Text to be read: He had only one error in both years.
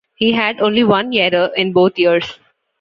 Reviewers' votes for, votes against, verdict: 2, 0, accepted